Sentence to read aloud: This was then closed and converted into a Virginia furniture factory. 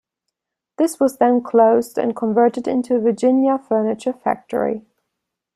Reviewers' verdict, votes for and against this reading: accepted, 2, 0